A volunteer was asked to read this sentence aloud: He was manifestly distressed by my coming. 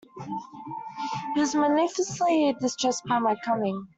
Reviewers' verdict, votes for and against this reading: rejected, 1, 2